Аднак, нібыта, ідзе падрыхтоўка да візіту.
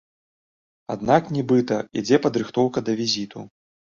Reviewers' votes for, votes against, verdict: 2, 0, accepted